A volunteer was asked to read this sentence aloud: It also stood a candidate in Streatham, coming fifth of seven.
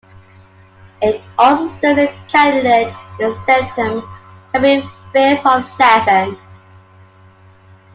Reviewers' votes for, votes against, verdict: 1, 2, rejected